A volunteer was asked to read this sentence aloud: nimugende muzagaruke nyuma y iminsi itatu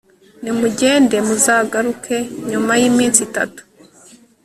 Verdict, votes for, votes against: accepted, 2, 0